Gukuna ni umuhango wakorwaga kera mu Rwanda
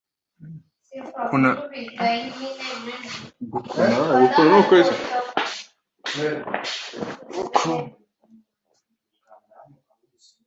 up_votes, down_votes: 0, 2